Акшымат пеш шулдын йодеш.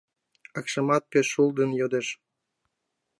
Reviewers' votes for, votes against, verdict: 2, 0, accepted